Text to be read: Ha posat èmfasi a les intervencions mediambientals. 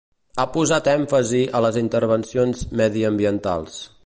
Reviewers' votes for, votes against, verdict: 2, 0, accepted